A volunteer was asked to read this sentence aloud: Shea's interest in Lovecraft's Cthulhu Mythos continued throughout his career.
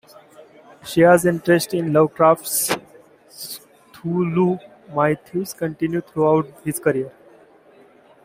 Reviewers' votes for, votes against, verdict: 1, 2, rejected